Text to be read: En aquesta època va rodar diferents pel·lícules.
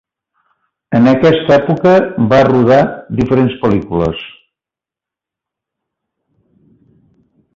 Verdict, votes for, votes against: accepted, 2, 1